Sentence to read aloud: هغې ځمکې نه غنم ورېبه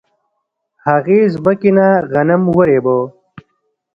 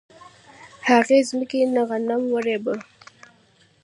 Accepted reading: second